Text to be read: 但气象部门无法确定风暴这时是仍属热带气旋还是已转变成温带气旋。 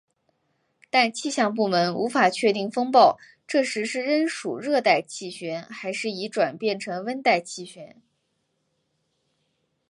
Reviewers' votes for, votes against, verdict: 3, 0, accepted